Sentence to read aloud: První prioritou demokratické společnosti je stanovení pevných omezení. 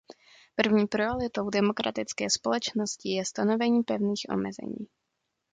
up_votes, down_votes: 1, 2